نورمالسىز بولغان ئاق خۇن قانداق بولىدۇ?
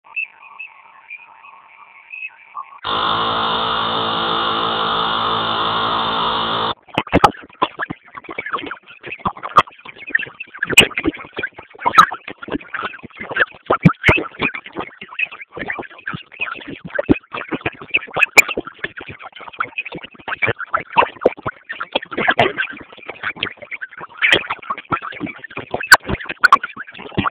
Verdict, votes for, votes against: rejected, 0, 2